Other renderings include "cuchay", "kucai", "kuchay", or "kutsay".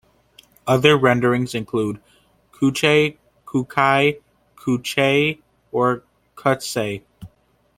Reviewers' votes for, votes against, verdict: 2, 0, accepted